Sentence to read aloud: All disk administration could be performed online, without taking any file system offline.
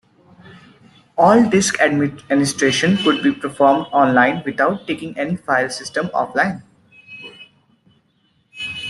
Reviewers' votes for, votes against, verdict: 2, 1, accepted